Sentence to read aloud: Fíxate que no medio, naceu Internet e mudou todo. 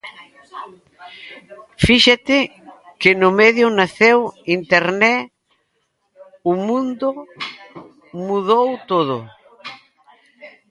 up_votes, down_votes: 0, 2